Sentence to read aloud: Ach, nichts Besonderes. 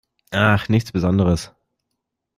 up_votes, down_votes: 2, 0